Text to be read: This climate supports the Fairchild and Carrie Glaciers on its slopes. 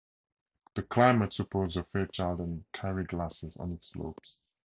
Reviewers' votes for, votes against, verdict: 2, 0, accepted